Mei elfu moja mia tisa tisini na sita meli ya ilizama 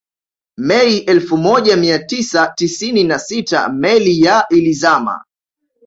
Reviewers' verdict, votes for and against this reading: accepted, 2, 0